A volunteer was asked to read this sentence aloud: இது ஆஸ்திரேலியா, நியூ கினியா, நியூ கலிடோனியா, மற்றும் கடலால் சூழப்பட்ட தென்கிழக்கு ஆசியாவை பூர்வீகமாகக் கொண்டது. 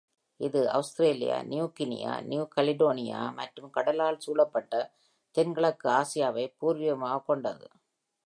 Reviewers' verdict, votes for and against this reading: accepted, 2, 1